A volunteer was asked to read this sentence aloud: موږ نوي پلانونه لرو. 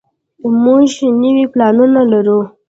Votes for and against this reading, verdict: 2, 0, accepted